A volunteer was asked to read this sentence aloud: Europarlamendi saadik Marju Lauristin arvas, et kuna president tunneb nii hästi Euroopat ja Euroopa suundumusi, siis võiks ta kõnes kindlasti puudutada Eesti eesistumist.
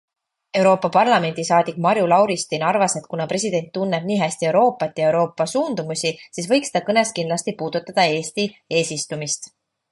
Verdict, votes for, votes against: accepted, 2, 1